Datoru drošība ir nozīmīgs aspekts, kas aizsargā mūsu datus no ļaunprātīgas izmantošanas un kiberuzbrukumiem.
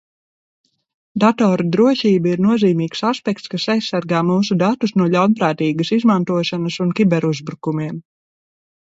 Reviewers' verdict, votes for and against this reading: accepted, 2, 0